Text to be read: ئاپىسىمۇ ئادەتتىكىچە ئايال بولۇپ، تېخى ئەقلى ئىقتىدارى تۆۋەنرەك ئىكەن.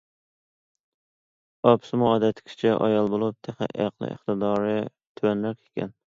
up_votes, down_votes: 2, 0